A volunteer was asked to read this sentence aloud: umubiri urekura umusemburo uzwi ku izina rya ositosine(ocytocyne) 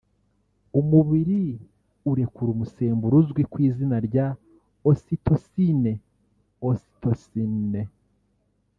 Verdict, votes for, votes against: accepted, 2, 0